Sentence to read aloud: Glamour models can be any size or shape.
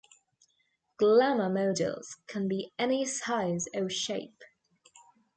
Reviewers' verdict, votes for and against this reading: rejected, 3, 4